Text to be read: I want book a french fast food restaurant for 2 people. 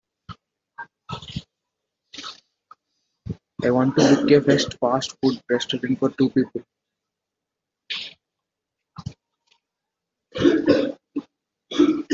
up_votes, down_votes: 0, 2